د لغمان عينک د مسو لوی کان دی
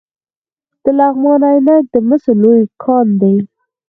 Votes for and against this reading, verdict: 0, 4, rejected